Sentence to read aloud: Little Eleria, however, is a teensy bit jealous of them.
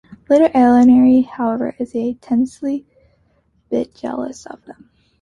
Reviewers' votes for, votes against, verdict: 0, 2, rejected